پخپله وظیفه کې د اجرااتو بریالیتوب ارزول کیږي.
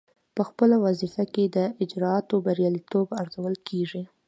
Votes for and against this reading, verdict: 2, 1, accepted